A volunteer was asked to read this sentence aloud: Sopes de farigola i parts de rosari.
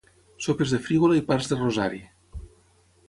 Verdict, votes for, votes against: rejected, 3, 3